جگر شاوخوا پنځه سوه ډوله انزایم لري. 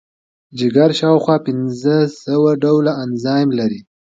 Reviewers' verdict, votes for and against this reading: accepted, 2, 0